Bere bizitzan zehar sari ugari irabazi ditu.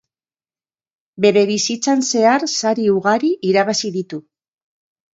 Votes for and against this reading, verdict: 2, 0, accepted